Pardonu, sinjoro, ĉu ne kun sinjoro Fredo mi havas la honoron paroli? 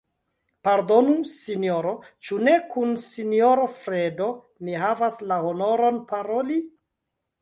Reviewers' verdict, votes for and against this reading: rejected, 1, 2